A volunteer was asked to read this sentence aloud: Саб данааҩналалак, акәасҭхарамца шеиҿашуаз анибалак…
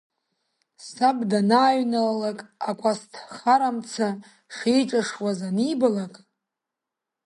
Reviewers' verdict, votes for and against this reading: rejected, 1, 4